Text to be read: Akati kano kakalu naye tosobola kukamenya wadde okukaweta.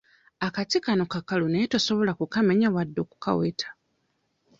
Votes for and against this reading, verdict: 0, 2, rejected